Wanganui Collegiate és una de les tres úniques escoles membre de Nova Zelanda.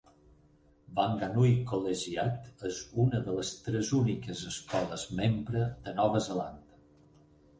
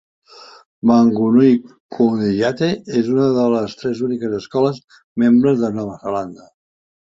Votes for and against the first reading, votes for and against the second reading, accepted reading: 4, 0, 1, 2, first